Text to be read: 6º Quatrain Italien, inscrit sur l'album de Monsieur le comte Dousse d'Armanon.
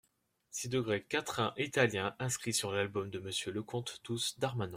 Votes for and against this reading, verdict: 0, 2, rejected